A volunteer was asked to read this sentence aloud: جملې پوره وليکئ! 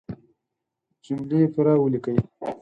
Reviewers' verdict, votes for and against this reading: accepted, 4, 0